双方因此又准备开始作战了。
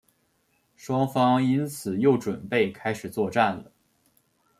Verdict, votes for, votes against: accepted, 2, 0